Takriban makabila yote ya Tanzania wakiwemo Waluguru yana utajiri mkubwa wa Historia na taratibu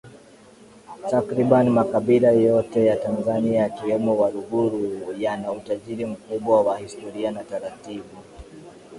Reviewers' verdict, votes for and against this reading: accepted, 2, 1